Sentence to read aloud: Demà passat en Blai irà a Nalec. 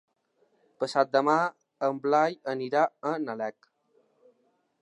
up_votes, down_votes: 1, 3